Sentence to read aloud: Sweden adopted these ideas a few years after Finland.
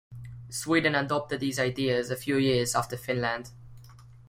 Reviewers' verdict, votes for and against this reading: accepted, 2, 0